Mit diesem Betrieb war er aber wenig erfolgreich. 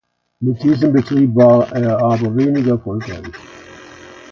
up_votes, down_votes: 1, 2